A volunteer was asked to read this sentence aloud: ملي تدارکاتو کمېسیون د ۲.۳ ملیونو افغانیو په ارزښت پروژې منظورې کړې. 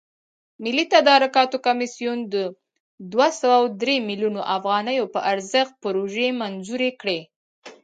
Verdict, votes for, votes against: rejected, 0, 2